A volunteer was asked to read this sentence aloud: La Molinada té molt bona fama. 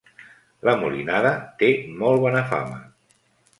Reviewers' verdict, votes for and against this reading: accepted, 2, 0